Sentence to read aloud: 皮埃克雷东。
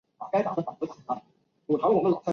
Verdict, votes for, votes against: rejected, 1, 3